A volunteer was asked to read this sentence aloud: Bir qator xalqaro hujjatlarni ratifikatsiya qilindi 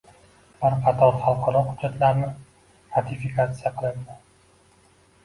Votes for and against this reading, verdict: 1, 2, rejected